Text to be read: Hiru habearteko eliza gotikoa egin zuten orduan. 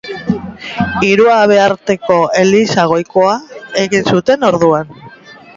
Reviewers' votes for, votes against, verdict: 0, 2, rejected